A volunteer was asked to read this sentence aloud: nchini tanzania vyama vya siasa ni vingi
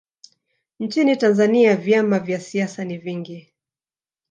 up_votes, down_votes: 2, 0